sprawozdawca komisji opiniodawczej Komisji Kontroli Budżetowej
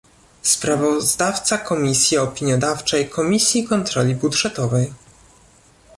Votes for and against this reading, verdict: 1, 2, rejected